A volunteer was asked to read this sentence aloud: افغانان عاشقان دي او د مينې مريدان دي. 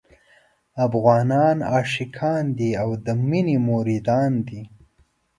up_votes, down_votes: 2, 0